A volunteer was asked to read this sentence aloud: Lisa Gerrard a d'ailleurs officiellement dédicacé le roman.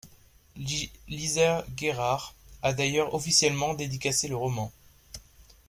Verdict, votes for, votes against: rejected, 0, 2